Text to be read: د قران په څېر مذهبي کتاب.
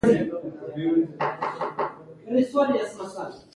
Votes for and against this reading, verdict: 0, 2, rejected